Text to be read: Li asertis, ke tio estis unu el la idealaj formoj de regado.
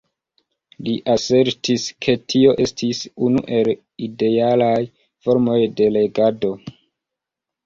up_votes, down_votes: 0, 2